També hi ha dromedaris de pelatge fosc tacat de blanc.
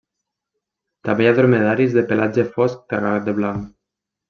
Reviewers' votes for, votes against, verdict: 1, 2, rejected